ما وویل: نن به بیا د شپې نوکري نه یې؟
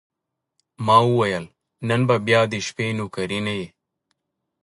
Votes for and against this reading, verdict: 0, 2, rejected